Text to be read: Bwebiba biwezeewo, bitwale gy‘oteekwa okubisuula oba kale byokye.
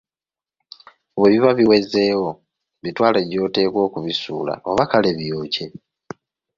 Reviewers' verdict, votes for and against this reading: accepted, 2, 0